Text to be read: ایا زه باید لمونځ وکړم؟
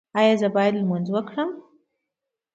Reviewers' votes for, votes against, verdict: 2, 0, accepted